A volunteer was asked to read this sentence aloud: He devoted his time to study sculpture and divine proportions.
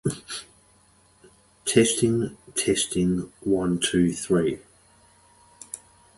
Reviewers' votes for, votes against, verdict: 0, 2, rejected